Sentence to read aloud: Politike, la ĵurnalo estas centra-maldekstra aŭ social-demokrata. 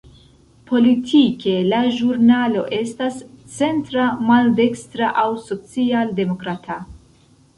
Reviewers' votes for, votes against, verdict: 2, 0, accepted